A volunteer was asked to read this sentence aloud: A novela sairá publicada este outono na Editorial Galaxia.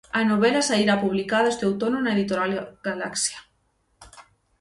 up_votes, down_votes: 0, 6